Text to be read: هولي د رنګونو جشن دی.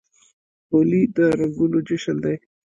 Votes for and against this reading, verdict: 1, 2, rejected